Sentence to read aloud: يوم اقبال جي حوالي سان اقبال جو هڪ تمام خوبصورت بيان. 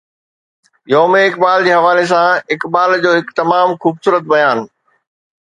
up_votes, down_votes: 2, 0